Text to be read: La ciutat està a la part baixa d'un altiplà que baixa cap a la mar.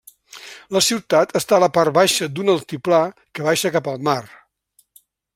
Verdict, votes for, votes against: rejected, 1, 2